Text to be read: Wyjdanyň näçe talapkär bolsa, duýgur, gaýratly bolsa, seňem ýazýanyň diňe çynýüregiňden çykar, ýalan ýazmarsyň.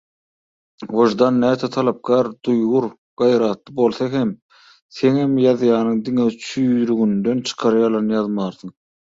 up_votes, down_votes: 0, 2